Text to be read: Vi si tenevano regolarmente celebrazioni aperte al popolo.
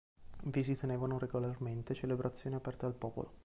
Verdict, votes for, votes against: rejected, 1, 2